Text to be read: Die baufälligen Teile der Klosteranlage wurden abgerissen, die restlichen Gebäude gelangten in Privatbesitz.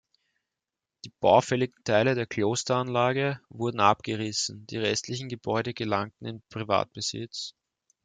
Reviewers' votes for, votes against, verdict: 1, 2, rejected